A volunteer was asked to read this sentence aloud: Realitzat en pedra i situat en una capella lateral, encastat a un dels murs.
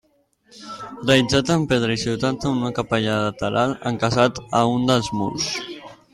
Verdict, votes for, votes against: rejected, 0, 2